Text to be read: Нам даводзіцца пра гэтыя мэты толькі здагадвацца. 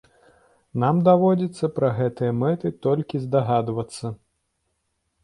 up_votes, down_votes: 2, 0